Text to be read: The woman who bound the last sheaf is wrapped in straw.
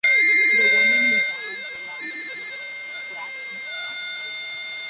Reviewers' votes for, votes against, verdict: 0, 2, rejected